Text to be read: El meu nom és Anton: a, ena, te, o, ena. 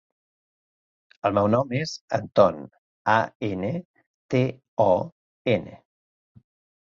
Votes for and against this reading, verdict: 0, 2, rejected